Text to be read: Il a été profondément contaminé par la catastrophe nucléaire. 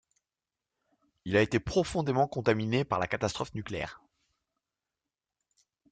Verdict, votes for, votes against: accepted, 2, 0